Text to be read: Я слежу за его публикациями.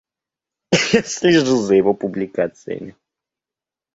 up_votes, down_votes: 1, 2